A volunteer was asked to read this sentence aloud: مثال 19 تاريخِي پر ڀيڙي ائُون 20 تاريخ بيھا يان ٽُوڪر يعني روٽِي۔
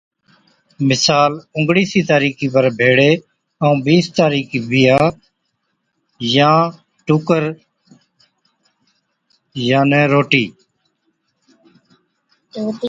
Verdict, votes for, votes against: rejected, 0, 2